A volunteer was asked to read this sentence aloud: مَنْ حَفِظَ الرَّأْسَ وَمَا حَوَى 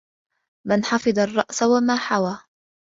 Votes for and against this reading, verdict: 2, 0, accepted